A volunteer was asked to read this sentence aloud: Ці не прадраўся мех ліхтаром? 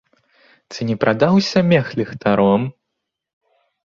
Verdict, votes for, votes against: rejected, 1, 2